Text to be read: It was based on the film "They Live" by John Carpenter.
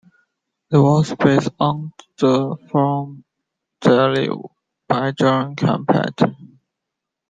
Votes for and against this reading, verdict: 0, 2, rejected